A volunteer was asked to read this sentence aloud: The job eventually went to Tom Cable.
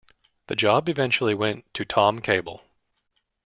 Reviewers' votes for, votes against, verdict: 2, 0, accepted